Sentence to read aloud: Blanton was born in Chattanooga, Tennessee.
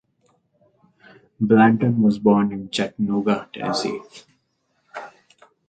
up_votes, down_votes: 2, 0